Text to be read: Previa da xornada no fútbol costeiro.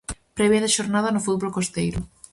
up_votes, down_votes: 2, 2